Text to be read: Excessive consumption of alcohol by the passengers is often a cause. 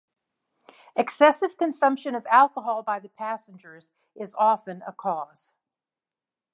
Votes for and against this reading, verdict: 2, 0, accepted